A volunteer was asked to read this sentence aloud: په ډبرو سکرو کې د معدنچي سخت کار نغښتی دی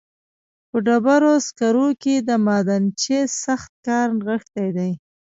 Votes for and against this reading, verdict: 2, 0, accepted